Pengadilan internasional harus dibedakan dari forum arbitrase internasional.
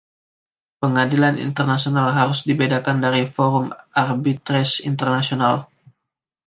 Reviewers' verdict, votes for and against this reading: rejected, 0, 2